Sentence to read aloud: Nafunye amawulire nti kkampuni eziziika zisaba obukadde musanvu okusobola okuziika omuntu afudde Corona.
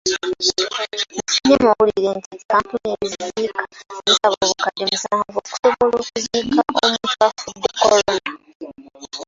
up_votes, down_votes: 0, 2